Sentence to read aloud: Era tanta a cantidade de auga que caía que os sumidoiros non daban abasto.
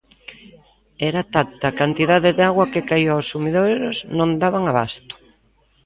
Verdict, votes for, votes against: rejected, 0, 2